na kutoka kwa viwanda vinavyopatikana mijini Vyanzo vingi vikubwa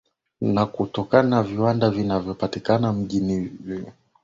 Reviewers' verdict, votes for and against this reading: rejected, 3, 4